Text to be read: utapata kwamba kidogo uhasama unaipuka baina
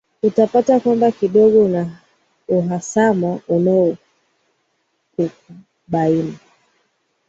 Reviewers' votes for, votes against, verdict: 1, 5, rejected